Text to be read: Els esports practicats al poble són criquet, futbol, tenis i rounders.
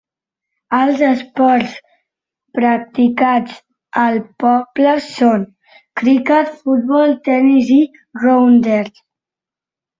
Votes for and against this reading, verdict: 1, 2, rejected